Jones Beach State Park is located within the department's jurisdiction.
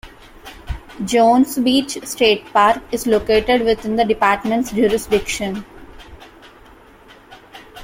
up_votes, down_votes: 2, 0